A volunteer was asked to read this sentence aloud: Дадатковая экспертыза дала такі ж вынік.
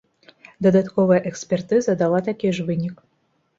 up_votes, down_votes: 2, 0